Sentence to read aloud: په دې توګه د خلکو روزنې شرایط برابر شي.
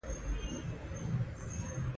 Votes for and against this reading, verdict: 0, 2, rejected